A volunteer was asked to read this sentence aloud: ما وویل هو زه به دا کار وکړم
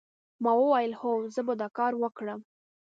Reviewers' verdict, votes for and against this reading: accepted, 3, 0